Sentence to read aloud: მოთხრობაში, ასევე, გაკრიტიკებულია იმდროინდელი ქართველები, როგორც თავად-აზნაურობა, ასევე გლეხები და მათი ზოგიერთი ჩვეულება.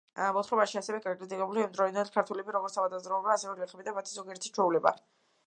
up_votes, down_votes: 1, 2